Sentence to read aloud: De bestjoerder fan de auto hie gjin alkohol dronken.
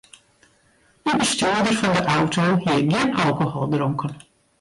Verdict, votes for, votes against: rejected, 0, 2